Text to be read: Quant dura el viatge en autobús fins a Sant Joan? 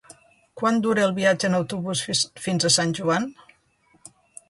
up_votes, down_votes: 1, 2